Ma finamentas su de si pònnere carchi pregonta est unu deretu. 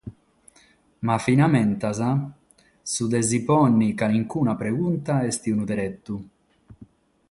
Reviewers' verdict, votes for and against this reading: rejected, 3, 3